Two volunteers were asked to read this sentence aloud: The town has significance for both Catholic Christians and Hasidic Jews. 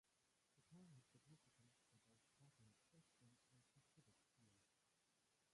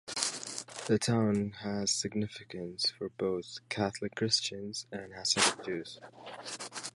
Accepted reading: second